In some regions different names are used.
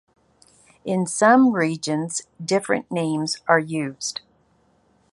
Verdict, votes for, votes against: accepted, 2, 0